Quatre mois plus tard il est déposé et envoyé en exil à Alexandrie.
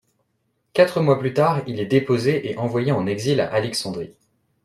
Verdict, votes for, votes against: accepted, 2, 0